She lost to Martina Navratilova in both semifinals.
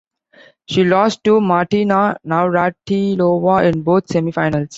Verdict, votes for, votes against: rejected, 0, 2